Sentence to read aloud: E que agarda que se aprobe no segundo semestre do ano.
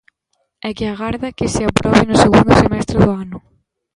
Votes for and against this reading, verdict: 1, 2, rejected